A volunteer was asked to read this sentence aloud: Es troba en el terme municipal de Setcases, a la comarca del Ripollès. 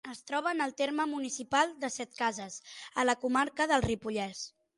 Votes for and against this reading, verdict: 9, 0, accepted